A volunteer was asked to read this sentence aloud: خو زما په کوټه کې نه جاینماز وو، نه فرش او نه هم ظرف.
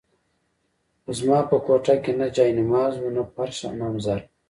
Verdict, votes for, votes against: accepted, 2, 0